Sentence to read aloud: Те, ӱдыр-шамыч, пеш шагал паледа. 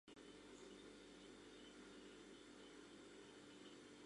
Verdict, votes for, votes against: rejected, 0, 2